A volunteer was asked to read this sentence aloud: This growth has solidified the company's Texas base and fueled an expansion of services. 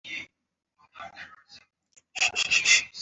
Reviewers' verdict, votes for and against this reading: rejected, 0, 2